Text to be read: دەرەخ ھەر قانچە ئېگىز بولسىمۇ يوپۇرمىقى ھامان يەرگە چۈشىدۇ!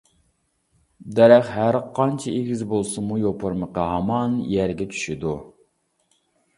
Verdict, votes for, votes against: accepted, 2, 0